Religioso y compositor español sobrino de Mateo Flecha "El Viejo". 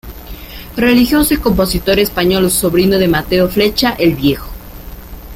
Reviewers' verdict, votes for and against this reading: accepted, 2, 0